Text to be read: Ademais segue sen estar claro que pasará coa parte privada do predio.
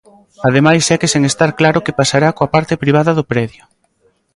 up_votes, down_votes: 2, 0